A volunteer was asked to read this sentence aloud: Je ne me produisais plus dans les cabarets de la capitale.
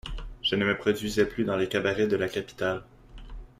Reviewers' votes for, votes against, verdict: 2, 0, accepted